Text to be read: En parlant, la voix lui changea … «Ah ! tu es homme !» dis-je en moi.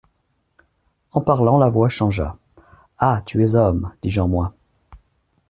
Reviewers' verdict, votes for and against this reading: rejected, 0, 2